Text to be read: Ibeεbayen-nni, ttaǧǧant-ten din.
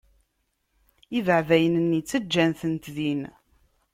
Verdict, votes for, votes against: rejected, 0, 2